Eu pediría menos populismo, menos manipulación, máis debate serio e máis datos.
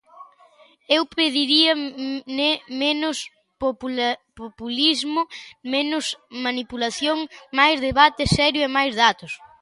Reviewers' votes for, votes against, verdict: 0, 2, rejected